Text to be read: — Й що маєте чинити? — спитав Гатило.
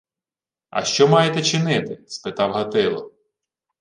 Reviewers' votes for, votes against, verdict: 1, 2, rejected